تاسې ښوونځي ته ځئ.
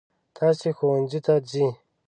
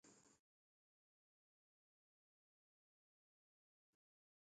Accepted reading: first